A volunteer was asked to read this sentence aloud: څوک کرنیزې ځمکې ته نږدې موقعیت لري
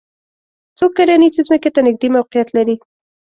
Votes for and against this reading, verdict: 2, 0, accepted